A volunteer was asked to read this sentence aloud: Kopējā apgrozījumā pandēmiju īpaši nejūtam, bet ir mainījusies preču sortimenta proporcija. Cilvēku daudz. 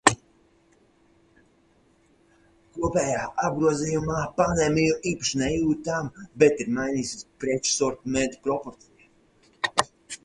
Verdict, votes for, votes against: rejected, 0, 4